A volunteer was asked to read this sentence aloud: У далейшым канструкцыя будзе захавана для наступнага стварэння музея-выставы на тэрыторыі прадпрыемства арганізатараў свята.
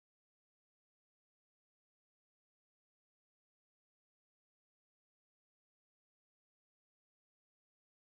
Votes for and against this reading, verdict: 0, 3, rejected